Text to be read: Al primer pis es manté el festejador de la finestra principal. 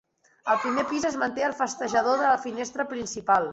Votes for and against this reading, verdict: 2, 1, accepted